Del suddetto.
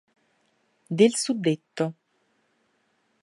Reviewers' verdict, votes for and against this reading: accepted, 4, 0